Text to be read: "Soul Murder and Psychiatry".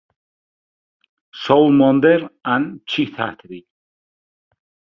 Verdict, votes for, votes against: rejected, 1, 2